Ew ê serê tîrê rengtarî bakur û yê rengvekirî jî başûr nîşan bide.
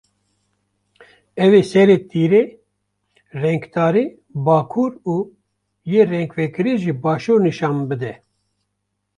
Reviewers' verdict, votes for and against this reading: accepted, 2, 0